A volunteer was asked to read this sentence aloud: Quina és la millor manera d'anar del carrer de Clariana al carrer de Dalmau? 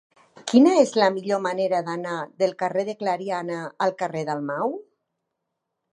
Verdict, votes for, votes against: rejected, 1, 2